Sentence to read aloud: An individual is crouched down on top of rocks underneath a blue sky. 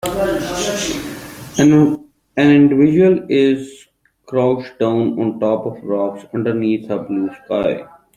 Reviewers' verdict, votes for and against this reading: accepted, 2, 0